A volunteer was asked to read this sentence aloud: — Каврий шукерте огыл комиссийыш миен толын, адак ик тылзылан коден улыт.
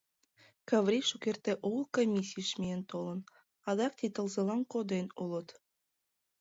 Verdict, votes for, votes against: accepted, 2, 1